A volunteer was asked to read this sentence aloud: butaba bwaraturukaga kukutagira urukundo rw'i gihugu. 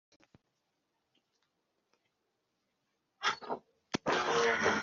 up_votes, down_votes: 1, 2